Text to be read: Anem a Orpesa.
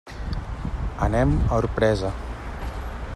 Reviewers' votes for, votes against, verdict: 1, 2, rejected